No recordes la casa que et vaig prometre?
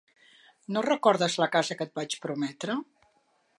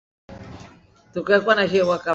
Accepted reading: first